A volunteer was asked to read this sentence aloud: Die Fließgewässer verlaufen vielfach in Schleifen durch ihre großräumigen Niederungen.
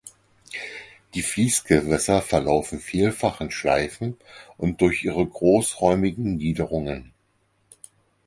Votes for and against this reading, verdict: 2, 4, rejected